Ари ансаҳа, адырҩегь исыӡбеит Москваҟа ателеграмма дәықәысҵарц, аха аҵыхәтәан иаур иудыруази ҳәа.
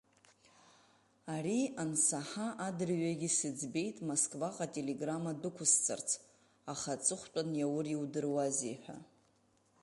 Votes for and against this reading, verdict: 2, 1, accepted